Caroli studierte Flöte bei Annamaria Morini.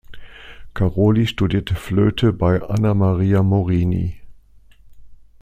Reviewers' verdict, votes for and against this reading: accepted, 2, 0